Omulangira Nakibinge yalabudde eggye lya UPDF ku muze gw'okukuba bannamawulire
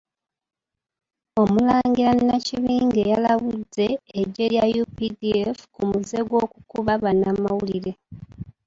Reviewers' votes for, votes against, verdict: 1, 2, rejected